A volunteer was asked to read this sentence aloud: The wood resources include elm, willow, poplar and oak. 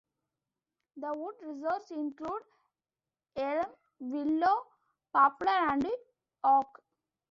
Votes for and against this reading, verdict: 1, 2, rejected